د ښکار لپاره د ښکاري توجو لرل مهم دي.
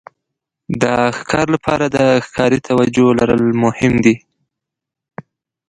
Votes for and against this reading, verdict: 1, 2, rejected